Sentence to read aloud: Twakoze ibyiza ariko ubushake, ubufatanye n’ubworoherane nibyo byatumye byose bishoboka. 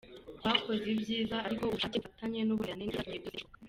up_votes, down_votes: 0, 2